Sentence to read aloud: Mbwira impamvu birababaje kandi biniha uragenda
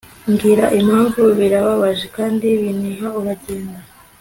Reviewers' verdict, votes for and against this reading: accepted, 2, 0